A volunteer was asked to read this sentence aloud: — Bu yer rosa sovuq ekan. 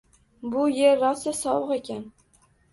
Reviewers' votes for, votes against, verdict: 2, 0, accepted